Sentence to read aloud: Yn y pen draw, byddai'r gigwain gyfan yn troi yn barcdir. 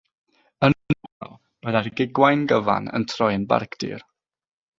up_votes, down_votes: 3, 3